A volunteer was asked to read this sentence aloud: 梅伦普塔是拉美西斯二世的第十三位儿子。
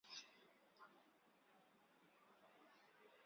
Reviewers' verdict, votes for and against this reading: rejected, 2, 5